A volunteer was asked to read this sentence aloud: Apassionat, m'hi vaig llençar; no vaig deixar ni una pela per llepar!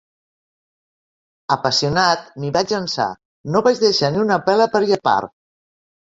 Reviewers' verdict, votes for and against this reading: accepted, 2, 1